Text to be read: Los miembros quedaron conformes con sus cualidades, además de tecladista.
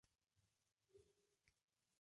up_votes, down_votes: 0, 2